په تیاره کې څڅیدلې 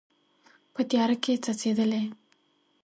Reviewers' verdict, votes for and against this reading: accepted, 2, 0